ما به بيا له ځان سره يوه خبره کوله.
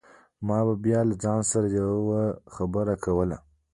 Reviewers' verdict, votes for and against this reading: rejected, 0, 2